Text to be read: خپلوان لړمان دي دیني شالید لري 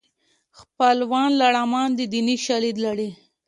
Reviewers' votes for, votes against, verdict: 2, 0, accepted